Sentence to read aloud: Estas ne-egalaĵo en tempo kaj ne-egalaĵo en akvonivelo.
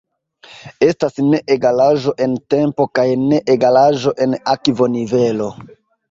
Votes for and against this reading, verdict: 2, 1, accepted